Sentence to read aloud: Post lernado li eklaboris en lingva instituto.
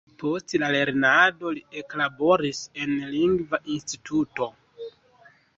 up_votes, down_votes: 0, 2